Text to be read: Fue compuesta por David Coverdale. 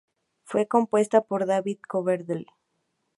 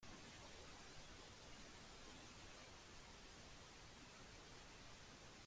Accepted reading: first